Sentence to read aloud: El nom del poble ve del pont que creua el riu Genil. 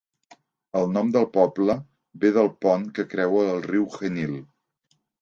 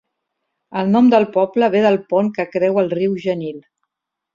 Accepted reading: second